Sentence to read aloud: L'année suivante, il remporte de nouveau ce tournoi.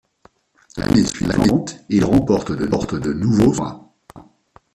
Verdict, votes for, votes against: rejected, 0, 2